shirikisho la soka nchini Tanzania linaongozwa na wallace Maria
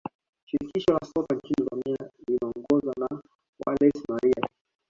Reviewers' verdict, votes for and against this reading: accepted, 2, 1